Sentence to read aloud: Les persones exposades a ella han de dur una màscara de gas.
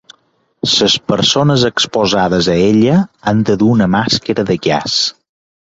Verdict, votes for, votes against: rejected, 0, 4